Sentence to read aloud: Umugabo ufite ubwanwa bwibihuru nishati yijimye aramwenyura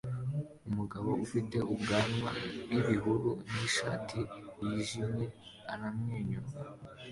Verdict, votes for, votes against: accepted, 2, 0